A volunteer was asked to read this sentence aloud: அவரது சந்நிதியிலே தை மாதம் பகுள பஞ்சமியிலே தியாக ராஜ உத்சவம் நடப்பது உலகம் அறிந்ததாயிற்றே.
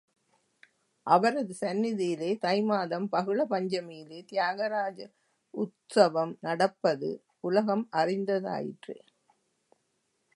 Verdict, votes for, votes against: rejected, 0, 2